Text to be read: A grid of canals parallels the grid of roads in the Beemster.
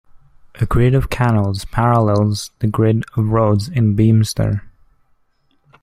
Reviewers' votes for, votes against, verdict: 2, 0, accepted